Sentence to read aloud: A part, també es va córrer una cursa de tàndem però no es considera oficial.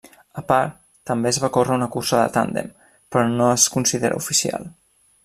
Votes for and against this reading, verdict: 3, 0, accepted